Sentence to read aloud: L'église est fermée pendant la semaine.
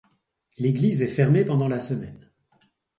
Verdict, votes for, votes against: accepted, 2, 0